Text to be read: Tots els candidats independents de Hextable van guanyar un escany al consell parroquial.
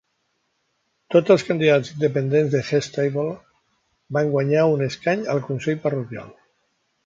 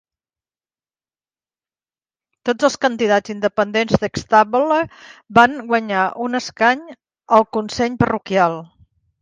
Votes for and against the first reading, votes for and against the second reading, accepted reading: 0, 2, 2, 1, second